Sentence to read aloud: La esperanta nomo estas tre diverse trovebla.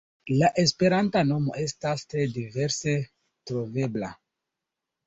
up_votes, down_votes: 2, 1